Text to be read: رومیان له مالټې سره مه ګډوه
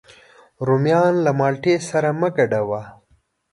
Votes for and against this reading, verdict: 3, 0, accepted